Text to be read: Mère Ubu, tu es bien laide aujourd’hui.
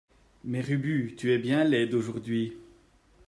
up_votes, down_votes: 2, 0